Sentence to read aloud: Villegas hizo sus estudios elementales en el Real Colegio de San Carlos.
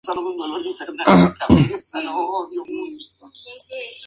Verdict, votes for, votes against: rejected, 0, 2